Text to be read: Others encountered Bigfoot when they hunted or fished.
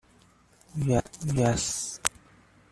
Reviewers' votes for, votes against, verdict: 0, 2, rejected